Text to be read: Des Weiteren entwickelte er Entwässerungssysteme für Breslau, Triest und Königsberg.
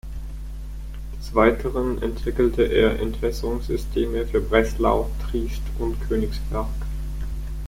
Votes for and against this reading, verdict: 0, 4, rejected